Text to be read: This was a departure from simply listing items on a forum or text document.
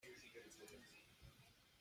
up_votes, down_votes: 0, 2